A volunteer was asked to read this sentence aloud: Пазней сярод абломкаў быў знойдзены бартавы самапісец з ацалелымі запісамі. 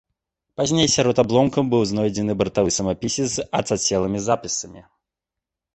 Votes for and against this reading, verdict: 0, 2, rejected